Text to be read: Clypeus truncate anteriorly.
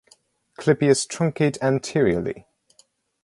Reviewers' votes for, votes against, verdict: 4, 0, accepted